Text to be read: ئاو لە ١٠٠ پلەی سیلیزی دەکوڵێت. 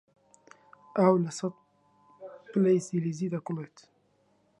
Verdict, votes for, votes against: rejected, 0, 2